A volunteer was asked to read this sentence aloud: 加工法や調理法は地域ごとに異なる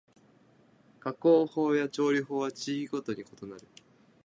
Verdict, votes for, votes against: accepted, 2, 0